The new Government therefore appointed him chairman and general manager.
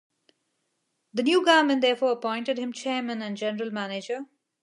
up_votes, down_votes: 0, 2